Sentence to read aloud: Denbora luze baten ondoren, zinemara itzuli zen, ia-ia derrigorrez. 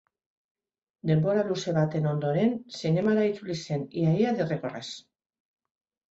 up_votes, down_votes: 2, 0